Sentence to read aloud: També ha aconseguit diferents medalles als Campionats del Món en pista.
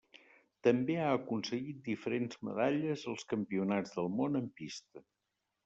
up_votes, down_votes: 0, 2